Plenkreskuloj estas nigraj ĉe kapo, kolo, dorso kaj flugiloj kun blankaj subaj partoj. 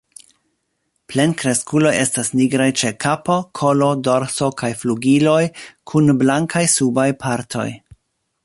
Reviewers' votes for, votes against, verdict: 2, 3, rejected